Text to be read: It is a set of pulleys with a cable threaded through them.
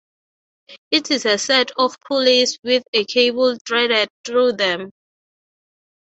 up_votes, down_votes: 3, 0